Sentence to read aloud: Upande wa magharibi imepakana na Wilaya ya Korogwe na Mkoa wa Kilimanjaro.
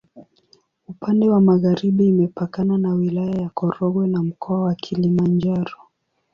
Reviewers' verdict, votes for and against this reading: accepted, 13, 6